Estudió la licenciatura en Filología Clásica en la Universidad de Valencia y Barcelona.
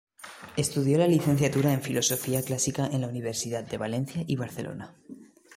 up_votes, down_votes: 0, 2